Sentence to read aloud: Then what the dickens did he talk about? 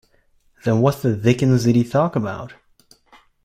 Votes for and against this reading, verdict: 1, 2, rejected